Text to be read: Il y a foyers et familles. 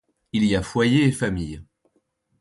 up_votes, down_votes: 2, 0